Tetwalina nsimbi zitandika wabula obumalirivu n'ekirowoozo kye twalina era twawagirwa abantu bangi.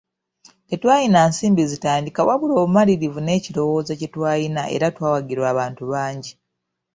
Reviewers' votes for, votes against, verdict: 2, 0, accepted